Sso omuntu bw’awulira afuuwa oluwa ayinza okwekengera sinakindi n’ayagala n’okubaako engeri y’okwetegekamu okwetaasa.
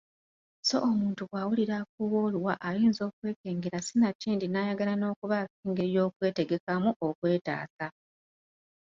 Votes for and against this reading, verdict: 2, 0, accepted